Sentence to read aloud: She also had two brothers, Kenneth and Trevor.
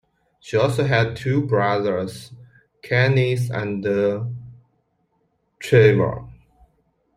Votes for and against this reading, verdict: 2, 0, accepted